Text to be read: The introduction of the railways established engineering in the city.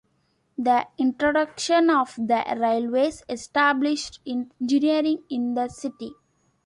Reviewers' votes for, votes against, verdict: 2, 0, accepted